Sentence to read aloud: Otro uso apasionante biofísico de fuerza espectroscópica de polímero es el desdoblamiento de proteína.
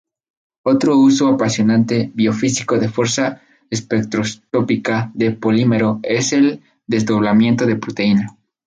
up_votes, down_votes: 0, 2